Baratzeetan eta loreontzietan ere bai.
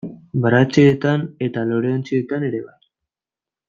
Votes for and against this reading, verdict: 0, 2, rejected